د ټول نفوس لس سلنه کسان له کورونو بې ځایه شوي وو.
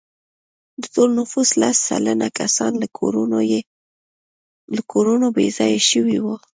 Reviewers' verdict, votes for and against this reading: accepted, 2, 0